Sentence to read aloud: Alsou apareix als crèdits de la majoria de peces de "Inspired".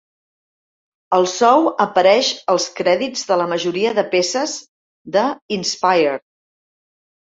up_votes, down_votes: 2, 0